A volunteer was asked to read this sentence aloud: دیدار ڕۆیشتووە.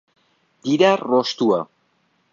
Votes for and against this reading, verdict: 1, 2, rejected